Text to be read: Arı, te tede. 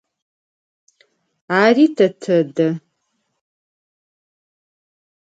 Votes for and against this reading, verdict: 2, 4, rejected